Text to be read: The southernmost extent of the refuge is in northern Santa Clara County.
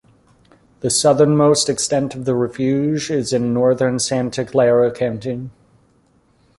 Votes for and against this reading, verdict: 0, 2, rejected